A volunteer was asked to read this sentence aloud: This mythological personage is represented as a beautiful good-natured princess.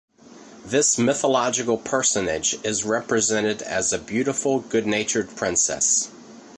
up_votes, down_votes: 2, 0